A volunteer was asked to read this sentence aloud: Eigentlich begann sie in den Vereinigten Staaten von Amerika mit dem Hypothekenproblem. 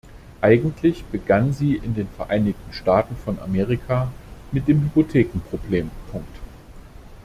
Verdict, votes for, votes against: rejected, 0, 2